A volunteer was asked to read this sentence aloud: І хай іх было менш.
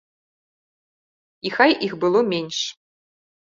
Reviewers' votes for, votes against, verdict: 2, 0, accepted